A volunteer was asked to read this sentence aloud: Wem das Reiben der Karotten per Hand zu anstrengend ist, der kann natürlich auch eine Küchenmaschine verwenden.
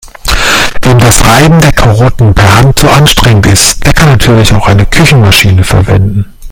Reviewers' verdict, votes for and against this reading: rejected, 1, 2